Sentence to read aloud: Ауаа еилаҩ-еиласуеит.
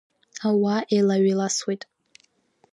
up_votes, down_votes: 2, 0